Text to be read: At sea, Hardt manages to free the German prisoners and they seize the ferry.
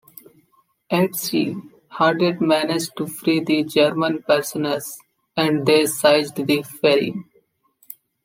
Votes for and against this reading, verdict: 0, 2, rejected